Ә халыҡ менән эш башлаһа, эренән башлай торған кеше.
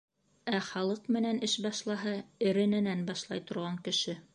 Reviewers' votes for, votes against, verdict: 1, 2, rejected